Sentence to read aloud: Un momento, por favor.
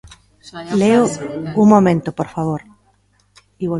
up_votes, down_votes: 1, 2